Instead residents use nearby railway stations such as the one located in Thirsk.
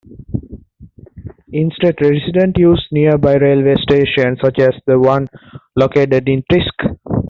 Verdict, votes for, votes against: accepted, 2, 1